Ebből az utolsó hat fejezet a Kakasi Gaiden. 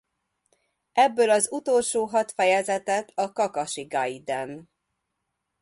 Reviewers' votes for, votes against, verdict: 0, 2, rejected